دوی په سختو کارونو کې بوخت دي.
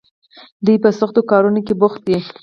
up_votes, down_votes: 4, 0